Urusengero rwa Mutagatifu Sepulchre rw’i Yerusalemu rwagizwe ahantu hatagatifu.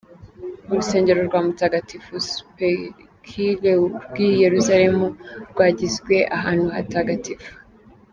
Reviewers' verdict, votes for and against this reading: accepted, 2, 0